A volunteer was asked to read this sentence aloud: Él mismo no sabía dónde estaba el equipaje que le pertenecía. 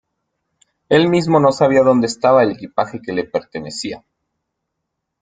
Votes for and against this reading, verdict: 2, 0, accepted